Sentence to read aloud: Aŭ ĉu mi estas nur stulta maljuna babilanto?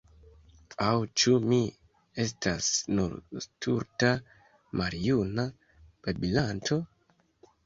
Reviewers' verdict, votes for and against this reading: rejected, 1, 2